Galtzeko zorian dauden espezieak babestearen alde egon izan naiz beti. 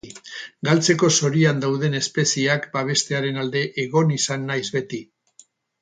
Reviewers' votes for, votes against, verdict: 4, 0, accepted